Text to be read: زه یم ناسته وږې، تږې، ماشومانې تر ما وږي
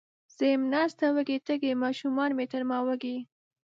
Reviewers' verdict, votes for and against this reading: accepted, 2, 0